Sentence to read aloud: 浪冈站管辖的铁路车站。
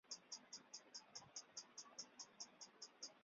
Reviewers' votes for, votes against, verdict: 0, 6, rejected